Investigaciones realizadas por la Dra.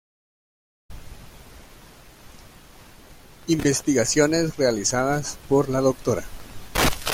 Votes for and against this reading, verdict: 1, 2, rejected